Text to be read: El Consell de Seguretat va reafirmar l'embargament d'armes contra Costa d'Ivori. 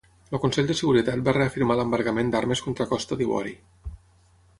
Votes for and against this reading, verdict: 0, 6, rejected